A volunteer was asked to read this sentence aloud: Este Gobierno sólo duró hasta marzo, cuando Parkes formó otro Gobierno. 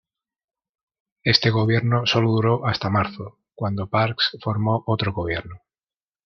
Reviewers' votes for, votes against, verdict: 0, 2, rejected